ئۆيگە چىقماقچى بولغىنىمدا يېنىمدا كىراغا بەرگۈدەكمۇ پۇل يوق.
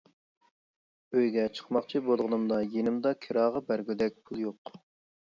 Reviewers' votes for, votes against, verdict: 0, 2, rejected